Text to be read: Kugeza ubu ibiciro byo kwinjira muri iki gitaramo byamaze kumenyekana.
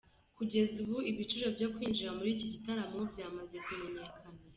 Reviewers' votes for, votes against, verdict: 2, 0, accepted